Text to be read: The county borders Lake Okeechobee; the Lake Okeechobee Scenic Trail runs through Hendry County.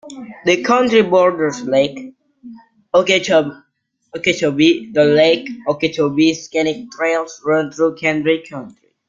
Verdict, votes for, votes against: rejected, 1, 2